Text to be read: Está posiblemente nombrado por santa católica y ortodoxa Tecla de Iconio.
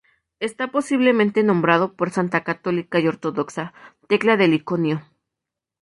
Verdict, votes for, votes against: accepted, 2, 0